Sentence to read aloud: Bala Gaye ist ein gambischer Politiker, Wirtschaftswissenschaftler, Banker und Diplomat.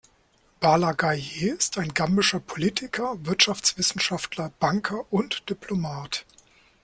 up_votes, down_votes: 0, 2